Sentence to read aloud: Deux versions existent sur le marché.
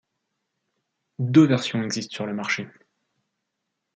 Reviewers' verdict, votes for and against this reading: accepted, 2, 0